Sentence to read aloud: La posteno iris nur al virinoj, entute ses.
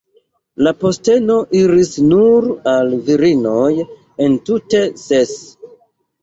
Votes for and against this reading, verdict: 2, 0, accepted